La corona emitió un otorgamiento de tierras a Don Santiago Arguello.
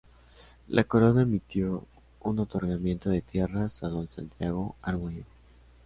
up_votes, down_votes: 2, 0